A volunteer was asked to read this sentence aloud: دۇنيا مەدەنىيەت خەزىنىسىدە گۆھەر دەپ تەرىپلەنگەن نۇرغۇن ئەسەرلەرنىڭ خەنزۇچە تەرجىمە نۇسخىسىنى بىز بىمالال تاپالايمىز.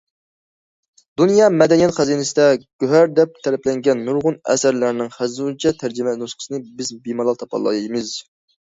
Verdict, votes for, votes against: accepted, 2, 0